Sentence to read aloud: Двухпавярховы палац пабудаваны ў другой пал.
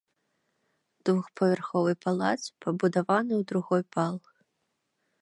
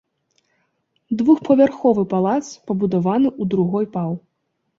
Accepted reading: first